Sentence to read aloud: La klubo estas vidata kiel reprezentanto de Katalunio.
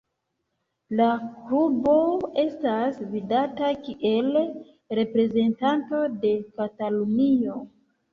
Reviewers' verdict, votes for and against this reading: rejected, 0, 3